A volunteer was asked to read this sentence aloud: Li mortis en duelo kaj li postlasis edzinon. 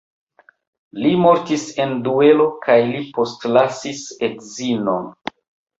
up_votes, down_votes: 1, 2